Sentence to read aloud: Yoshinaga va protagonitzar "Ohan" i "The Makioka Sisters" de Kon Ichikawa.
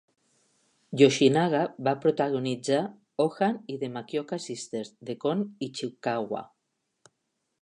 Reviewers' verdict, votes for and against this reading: accepted, 3, 0